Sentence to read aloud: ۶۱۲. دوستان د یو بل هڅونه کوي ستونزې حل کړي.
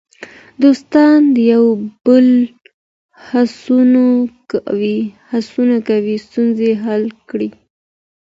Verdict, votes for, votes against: rejected, 0, 2